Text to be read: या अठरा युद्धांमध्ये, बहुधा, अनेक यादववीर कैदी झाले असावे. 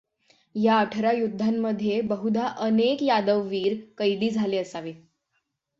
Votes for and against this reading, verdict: 6, 0, accepted